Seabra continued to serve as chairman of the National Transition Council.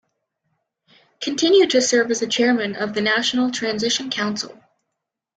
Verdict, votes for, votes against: rejected, 2, 3